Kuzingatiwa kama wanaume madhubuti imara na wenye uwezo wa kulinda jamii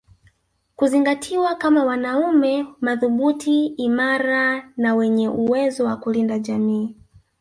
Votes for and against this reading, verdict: 2, 0, accepted